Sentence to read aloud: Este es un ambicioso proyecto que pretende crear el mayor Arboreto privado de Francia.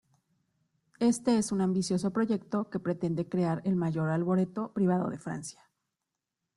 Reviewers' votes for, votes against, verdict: 2, 0, accepted